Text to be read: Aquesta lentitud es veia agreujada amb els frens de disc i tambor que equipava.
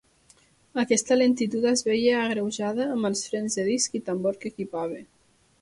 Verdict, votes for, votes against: accepted, 2, 0